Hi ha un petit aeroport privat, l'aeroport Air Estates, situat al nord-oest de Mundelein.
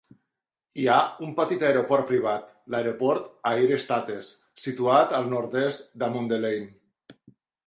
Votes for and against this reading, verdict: 0, 2, rejected